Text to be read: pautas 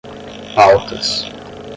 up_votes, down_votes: 0, 10